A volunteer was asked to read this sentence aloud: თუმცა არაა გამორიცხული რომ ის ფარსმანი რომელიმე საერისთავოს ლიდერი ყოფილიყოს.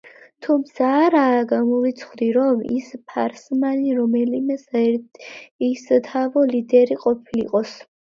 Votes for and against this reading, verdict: 0, 2, rejected